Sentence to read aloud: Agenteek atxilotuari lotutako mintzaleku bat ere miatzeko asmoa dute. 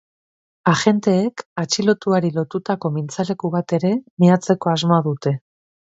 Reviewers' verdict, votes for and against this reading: accepted, 3, 0